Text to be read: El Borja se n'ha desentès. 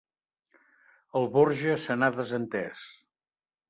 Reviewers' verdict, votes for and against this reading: accepted, 3, 0